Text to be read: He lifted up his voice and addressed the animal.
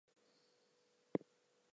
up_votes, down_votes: 0, 2